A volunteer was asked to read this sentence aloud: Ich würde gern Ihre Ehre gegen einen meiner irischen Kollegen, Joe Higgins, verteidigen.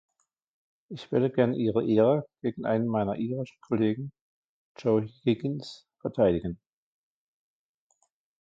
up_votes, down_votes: 0, 2